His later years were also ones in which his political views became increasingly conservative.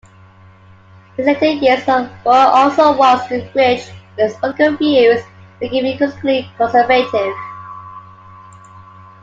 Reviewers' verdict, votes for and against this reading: rejected, 0, 2